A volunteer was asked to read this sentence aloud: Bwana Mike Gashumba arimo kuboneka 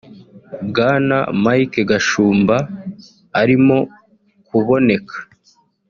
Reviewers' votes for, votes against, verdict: 4, 0, accepted